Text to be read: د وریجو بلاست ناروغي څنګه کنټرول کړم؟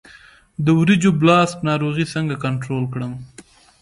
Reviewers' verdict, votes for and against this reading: accepted, 2, 0